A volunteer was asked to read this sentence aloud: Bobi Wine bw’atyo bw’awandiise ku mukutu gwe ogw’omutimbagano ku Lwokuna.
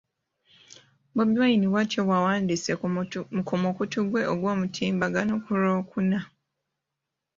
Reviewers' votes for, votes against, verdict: 1, 3, rejected